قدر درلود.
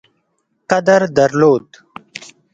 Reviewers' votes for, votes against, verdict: 2, 1, accepted